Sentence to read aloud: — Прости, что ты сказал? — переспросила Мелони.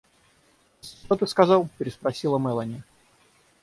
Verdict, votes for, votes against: rejected, 3, 6